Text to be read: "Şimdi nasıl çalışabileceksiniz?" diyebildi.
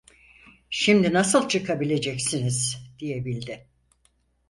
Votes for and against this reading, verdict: 0, 4, rejected